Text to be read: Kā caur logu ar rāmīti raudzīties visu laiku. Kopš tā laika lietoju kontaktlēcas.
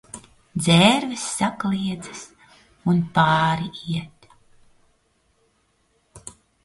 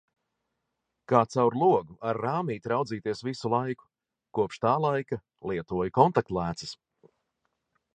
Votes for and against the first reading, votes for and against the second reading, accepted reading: 0, 2, 2, 0, second